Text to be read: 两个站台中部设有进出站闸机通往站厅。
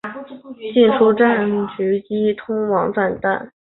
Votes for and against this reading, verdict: 1, 2, rejected